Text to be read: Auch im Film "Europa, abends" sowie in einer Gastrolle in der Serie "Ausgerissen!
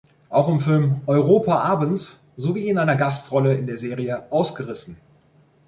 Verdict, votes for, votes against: accepted, 2, 0